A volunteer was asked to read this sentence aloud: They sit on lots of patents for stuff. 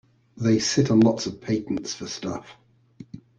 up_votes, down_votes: 2, 0